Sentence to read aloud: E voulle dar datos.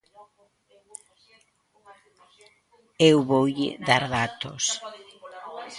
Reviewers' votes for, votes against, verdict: 1, 3, rejected